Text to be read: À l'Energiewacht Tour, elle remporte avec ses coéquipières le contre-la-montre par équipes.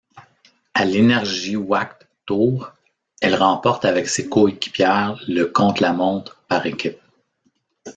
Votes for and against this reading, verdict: 2, 0, accepted